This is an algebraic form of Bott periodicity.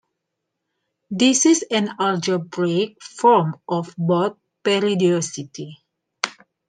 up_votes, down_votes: 2, 1